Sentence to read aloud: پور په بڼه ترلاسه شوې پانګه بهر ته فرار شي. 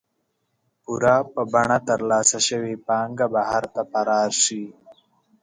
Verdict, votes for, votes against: rejected, 0, 2